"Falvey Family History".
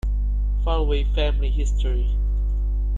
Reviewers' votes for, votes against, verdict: 2, 1, accepted